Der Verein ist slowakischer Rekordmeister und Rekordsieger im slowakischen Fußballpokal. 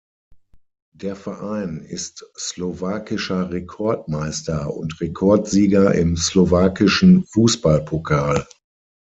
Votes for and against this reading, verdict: 6, 0, accepted